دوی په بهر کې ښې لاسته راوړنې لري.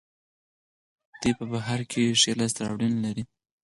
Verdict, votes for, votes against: rejected, 4, 6